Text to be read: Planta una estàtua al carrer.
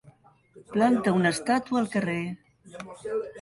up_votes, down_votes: 4, 0